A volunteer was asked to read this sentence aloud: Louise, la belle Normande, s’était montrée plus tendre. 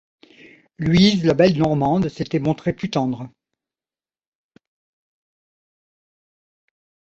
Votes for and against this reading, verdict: 2, 1, accepted